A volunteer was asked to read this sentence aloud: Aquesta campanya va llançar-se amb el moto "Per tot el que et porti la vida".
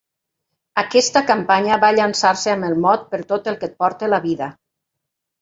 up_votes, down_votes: 0, 2